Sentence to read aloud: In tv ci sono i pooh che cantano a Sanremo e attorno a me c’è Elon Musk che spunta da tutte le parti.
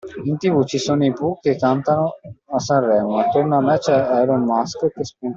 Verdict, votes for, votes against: rejected, 0, 2